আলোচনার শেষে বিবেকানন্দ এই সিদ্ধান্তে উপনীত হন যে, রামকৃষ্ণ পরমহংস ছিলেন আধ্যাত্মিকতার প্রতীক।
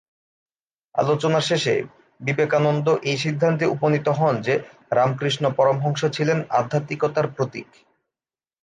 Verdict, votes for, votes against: accepted, 3, 0